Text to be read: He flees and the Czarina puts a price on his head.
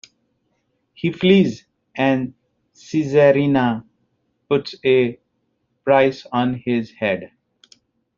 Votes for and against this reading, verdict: 0, 2, rejected